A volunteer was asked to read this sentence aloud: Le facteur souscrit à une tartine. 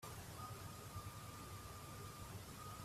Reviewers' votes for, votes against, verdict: 0, 2, rejected